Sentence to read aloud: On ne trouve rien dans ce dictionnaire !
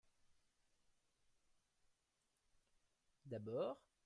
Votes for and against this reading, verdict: 0, 2, rejected